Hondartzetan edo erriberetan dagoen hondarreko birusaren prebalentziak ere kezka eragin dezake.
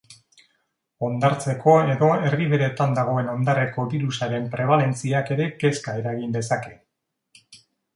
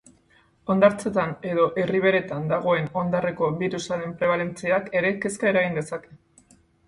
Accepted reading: second